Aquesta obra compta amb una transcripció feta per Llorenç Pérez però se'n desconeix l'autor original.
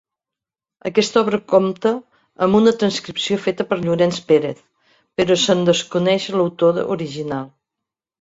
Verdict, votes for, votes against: accepted, 2, 0